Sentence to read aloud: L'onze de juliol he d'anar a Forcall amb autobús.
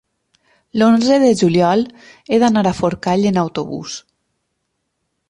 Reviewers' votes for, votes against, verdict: 2, 4, rejected